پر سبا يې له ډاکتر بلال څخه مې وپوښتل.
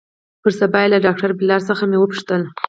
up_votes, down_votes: 4, 2